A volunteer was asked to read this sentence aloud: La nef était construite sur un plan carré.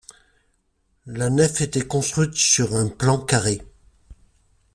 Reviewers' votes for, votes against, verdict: 2, 0, accepted